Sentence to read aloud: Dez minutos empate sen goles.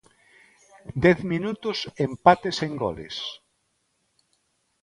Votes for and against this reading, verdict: 2, 0, accepted